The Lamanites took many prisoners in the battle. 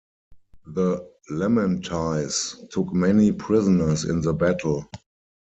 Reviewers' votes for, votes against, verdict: 2, 4, rejected